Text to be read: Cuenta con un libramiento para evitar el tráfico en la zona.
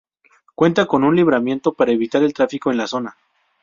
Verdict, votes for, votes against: accepted, 2, 0